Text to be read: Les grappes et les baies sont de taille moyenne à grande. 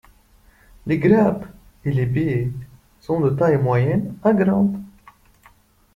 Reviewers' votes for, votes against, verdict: 2, 0, accepted